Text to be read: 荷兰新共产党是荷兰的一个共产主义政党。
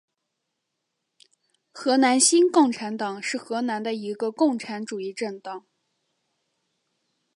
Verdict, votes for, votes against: accepted, 4, 0